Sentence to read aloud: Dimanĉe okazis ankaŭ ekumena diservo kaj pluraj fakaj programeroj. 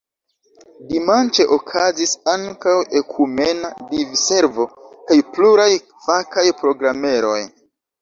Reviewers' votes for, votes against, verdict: 2, 1, accepted